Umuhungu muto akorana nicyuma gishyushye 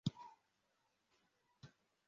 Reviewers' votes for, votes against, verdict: 0, 2, rejected